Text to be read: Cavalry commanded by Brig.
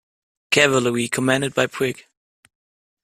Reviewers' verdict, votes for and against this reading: accepted, 2, 1